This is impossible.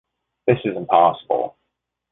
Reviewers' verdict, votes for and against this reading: rejected, 0, 2